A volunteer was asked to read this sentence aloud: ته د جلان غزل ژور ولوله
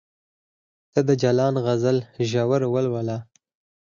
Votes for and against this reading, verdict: 0, 4, rejected